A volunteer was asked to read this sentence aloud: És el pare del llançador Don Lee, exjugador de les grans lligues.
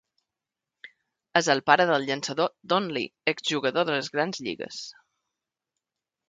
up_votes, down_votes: 2, 0